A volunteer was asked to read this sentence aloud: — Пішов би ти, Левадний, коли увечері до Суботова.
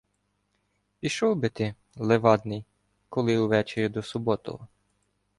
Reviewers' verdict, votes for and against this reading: accepted, 2, 0